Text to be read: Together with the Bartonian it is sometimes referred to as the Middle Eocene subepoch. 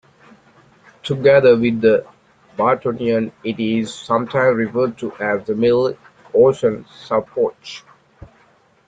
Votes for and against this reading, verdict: 2, 0, accepted